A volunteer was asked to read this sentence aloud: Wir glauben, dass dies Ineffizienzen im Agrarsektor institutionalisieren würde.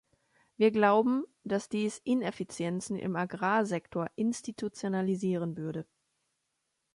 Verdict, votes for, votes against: accepted, 2, 0